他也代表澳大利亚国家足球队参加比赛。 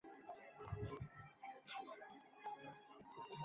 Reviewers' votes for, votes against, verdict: 1, 4, rejected